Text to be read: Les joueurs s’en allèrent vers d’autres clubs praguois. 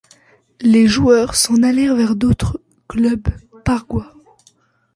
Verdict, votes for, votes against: rejected, 0, 2